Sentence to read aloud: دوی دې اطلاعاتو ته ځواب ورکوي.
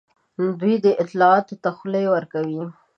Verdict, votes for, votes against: rejected, 1, 2